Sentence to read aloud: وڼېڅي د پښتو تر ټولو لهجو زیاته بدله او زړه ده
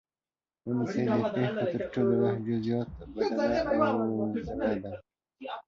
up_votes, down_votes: 1, 2